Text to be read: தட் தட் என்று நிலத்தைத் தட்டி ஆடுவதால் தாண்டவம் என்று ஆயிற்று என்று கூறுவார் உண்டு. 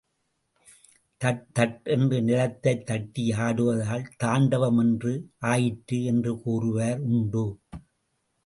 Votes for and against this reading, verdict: 2, 0, accepted